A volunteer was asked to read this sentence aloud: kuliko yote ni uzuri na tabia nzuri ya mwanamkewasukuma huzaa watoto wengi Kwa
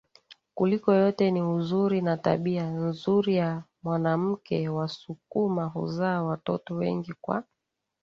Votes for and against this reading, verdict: 2, 0, accepted